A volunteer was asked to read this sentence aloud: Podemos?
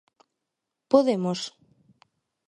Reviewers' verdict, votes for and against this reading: accepted, 2, 0